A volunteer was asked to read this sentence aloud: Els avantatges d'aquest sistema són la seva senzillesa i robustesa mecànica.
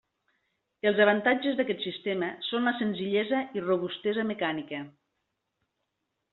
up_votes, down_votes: 1, 2